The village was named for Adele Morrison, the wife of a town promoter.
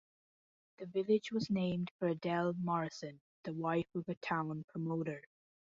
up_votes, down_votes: 2, 0